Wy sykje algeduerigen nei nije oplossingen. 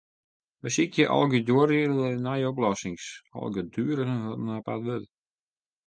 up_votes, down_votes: 0, 2